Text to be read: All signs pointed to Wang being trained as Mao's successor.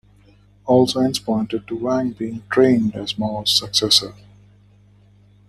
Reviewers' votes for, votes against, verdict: 2, 1, accepted